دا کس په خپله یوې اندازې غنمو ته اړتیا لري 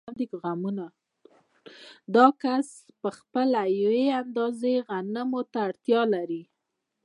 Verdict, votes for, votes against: accepted, 2, 0